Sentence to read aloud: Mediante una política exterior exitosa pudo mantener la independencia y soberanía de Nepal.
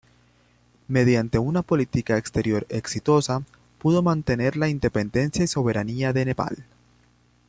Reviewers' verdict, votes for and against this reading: accepted, 2, 0